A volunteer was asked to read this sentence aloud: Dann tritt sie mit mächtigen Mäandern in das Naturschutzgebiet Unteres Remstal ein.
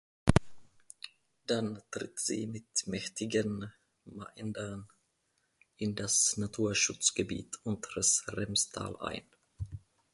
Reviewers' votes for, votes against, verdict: 0, 2, rejected